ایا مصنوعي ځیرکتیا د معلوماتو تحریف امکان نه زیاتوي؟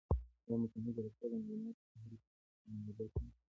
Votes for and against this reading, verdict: 0, 2, rejected